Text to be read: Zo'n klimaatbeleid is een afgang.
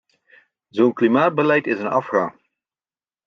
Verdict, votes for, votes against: accepted, 2, 0